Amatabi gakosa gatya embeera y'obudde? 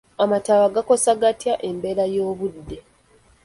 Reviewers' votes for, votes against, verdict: 1, 2, rejected